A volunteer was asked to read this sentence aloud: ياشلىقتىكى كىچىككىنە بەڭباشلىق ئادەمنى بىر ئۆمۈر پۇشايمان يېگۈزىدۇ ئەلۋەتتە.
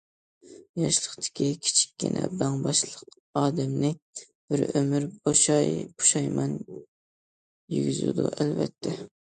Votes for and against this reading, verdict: 0, 2, rejected